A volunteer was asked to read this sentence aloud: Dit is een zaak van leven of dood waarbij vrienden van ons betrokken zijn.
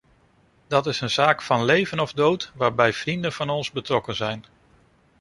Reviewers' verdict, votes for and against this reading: rejected, 0, 2